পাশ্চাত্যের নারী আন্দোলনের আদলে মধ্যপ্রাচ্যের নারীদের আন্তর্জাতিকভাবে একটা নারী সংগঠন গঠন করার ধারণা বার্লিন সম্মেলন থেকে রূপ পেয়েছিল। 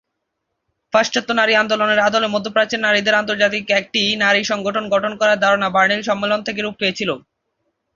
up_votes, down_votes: 0, 2